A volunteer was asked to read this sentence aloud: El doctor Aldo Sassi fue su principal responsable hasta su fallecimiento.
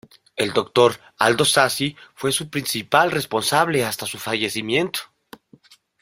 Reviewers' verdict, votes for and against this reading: accepted, 2, 0